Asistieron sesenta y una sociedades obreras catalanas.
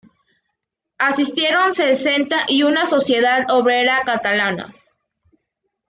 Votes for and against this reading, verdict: 1, 2, rejected